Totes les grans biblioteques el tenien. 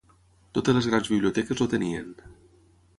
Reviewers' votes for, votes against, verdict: 3, 3, rejected